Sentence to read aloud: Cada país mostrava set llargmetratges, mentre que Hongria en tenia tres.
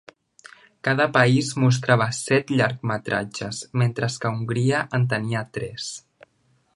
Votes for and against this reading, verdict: 1, 2, rejected